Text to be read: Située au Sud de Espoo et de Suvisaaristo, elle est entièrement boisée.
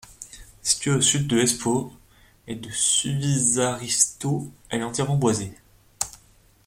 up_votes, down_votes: 2, 1